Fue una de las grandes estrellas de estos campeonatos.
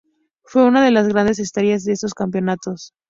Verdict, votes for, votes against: accepted, 2, 0